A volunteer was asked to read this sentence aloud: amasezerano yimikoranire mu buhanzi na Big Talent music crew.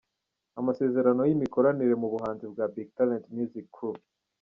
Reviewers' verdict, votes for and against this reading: rejected, 0, 2